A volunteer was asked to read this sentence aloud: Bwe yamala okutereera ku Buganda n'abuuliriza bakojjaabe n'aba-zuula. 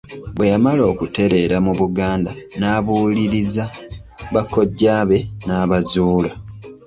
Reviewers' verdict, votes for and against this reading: accepted, 2, 1